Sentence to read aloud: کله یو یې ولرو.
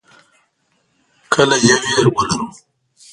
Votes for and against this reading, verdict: 0, 2, rejected